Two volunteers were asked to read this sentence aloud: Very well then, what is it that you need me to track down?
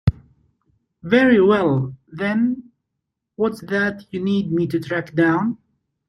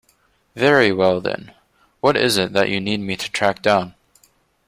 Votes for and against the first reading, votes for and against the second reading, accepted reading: 0, 2, 2, 0, second